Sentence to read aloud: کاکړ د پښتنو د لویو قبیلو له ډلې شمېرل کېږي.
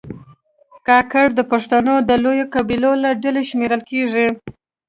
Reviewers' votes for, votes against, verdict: 2, 0, accepted